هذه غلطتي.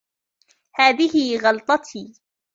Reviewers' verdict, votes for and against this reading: rejected, 2, 3